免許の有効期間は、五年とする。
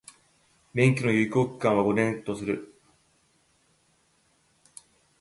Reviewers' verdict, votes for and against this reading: rejected, 0, 2